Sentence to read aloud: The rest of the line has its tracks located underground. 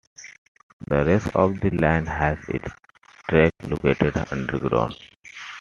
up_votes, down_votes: 3, 0